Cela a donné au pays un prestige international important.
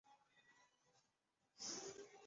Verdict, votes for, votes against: rejected, 0, 2